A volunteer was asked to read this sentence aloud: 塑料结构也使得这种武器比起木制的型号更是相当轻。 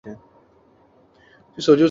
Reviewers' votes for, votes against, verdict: 1, 4, rejected